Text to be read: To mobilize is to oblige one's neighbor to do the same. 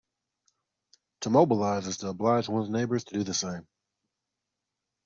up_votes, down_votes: 0, 2